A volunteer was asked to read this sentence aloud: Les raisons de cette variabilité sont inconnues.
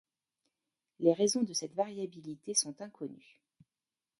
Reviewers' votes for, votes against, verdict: 0, 2, rejected